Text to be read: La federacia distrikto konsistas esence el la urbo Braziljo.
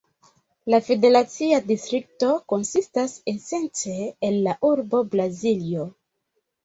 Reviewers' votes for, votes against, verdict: 0, 2, rejected